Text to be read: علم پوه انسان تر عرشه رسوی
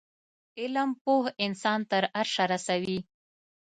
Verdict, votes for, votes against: accepted, 2, 0